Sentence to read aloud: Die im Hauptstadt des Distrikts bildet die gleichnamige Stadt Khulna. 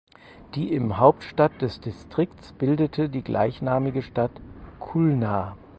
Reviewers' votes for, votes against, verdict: 0, 4, rejected